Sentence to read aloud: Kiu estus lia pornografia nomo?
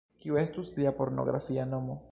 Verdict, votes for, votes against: accepted, 2, 0